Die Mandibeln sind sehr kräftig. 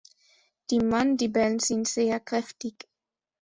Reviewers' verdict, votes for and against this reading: accepted, 2, 0